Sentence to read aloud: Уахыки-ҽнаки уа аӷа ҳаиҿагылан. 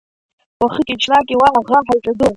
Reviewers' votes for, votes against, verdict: 0, 2, rejected